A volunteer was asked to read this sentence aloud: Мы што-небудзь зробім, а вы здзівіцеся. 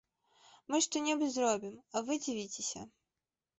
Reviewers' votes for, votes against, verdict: 0, 2, rejected